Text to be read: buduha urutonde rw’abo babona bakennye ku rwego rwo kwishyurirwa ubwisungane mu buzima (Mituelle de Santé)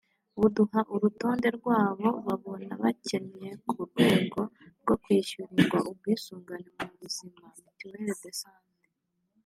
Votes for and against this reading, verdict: 3, 0, accepted